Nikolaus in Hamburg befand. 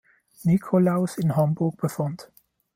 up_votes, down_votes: 2, 1